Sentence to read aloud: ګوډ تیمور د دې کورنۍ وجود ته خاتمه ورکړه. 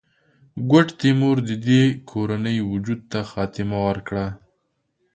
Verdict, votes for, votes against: accepted, 2, 0